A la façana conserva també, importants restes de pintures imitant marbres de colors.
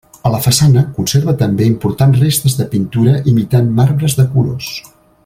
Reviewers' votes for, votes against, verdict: 1, 2, rejected